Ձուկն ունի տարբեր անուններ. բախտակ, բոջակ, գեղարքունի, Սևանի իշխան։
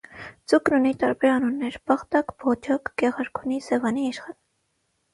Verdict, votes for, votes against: rejected, 3, 3